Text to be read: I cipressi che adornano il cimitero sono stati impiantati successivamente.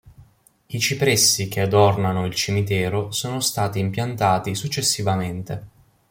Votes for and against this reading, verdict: 2, 0, accepted